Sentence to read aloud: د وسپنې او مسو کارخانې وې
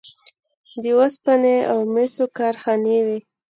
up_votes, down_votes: 2, 0